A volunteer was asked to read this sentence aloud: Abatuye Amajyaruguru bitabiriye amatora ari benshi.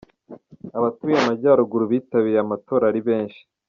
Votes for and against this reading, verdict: 2, 0, accepted